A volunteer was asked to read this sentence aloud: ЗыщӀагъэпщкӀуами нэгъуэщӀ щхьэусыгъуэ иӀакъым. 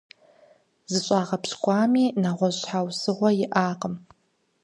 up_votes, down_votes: 4, 0